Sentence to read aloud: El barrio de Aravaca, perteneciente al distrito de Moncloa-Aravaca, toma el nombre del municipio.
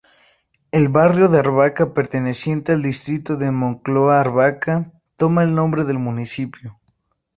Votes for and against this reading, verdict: 0, 2, rejected